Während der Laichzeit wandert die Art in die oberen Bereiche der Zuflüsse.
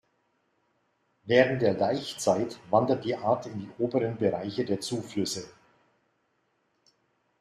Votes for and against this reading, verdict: 2, 0, accepted